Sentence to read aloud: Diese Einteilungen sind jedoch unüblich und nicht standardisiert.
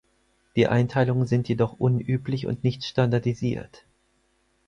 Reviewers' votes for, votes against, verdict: 2, 4, rejected